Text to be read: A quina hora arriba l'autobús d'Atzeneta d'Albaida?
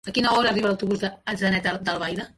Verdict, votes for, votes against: accepted, 2, 0